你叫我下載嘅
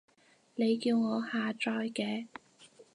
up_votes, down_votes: 6, 0